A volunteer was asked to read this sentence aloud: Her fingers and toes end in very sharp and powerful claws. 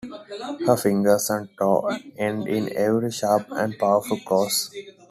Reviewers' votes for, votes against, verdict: 1, 2, rejected